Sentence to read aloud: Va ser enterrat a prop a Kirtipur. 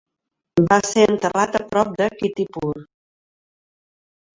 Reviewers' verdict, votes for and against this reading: accepted, 2, 0